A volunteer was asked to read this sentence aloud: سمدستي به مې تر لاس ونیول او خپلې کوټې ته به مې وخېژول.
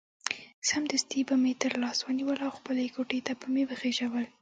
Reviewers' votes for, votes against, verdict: 2, 0, accepted